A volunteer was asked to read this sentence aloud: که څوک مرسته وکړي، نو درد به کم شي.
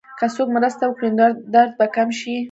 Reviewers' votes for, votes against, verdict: 1, 3, rejected